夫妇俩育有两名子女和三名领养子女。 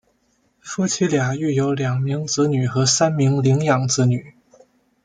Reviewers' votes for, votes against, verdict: 0, 2, rejected